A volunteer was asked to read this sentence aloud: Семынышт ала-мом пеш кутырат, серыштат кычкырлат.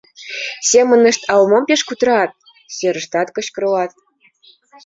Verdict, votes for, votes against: accepted, 2, 0